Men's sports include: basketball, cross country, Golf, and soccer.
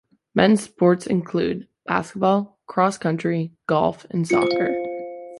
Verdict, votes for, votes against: accepted, 2, 0